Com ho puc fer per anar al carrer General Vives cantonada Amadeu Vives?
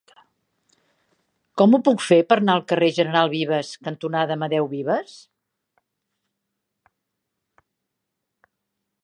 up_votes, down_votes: 2, 0